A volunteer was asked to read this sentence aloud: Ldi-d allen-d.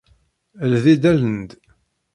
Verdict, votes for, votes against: accepted, 2, 1